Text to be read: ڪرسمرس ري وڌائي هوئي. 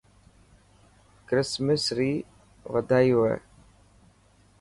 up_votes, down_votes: 3, 0